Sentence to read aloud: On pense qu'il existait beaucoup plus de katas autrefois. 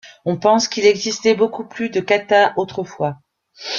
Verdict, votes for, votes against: rejected, 1, 2